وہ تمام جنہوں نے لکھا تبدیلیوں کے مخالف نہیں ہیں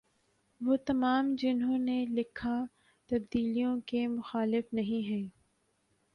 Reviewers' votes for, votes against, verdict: 2, 1, accepted